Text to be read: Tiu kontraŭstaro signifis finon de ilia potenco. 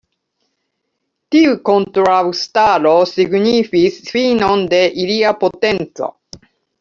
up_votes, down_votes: 0, 2